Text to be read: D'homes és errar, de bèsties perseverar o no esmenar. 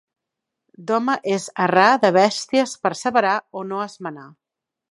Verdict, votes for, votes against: rejected, 0, 2